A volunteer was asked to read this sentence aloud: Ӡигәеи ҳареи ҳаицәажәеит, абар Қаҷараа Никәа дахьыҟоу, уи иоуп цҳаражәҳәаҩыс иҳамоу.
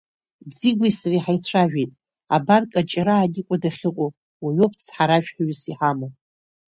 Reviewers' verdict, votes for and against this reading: rejected, 1, 2